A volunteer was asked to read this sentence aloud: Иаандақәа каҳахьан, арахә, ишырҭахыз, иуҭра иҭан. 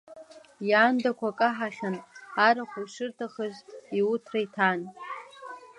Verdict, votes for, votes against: accepted, 2, 1